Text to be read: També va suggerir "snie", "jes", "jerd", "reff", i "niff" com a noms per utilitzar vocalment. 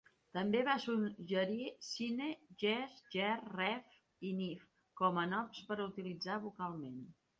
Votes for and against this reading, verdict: 1, 2, rejected